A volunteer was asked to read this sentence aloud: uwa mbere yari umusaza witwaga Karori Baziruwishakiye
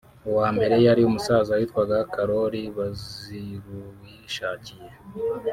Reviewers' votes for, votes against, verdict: 1, 2, rejected